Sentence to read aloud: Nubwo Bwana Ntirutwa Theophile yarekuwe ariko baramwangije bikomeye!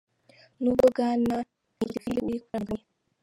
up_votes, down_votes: 0, 2